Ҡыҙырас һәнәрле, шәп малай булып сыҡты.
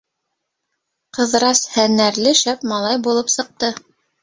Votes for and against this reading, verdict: 2, 1, accepted